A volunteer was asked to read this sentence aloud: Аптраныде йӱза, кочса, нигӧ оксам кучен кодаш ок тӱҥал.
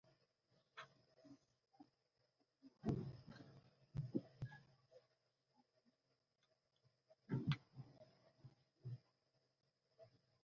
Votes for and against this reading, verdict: 0, 2, rejected